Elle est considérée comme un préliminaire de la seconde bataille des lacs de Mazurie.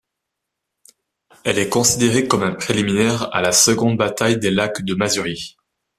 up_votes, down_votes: 1, 2